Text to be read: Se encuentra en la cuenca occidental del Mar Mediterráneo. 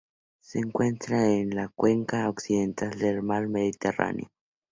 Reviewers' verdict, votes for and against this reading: accepted, 2, 0